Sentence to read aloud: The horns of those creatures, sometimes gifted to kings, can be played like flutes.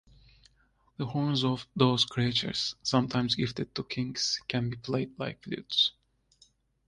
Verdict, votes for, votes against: accepted, 2, 0